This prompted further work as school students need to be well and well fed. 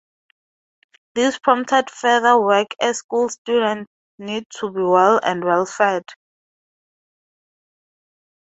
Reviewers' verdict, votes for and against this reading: rejected, 0, 2